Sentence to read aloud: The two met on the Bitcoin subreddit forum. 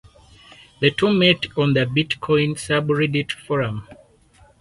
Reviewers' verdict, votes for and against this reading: rejected, 2, 4